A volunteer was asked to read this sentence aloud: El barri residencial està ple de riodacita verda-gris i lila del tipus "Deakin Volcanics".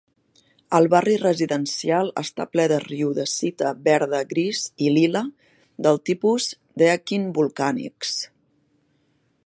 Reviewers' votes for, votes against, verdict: 3, 0, accepted